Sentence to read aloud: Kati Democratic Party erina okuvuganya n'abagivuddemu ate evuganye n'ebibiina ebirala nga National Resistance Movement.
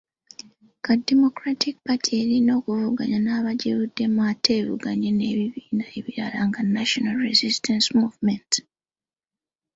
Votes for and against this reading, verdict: 2, 0, accepted